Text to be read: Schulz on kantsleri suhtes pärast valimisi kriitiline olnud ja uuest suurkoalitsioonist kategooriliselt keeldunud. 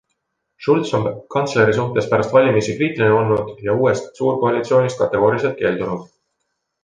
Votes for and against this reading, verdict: 3, 0, accepted